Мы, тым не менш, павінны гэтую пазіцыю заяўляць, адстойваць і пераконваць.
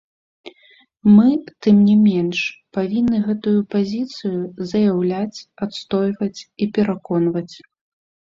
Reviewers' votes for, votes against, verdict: 0, 2, rejected